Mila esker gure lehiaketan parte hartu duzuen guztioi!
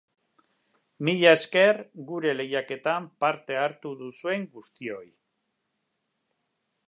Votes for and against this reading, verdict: 2, 0, accepted